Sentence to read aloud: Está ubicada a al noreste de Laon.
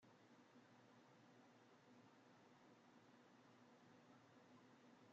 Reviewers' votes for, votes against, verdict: 0, 2, rejected